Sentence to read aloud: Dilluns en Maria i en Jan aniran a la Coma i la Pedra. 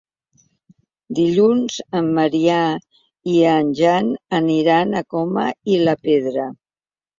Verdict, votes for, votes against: rejected, 0, 2